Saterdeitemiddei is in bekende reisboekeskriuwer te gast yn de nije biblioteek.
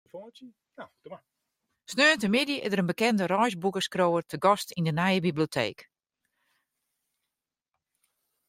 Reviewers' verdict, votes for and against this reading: rejected, 1, 2